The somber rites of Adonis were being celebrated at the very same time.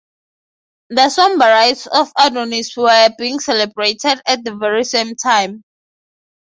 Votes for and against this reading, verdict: 3, 3, rejected